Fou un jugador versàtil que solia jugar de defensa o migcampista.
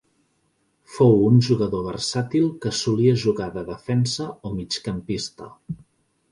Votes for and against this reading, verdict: 2, 0, accepted